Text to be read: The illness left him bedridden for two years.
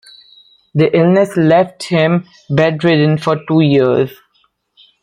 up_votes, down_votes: 2, 1